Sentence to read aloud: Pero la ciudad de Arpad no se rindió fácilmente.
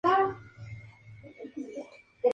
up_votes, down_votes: 0, 2